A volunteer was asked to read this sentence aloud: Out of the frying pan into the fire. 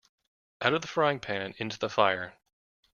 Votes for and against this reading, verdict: 1, 2, rejected